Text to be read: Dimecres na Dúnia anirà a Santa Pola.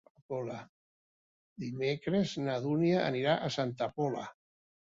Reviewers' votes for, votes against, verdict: 1, 2, rejected